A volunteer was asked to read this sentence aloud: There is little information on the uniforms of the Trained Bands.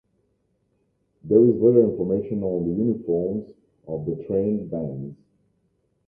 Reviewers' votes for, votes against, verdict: 0, 2, rejected